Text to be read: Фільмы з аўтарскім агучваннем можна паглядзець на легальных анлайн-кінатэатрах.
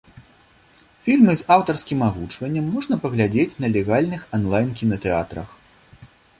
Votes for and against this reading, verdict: 2, 0, accepted